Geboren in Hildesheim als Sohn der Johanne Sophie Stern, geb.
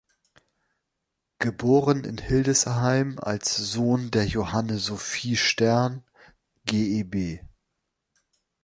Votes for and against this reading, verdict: 2, 3, rejected